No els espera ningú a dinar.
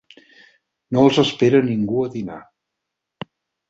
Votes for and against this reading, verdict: 6, 0, accepted